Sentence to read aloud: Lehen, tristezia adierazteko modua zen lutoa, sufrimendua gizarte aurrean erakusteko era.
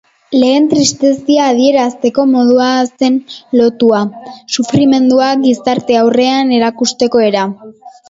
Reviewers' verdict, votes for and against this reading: accepted, 2, 0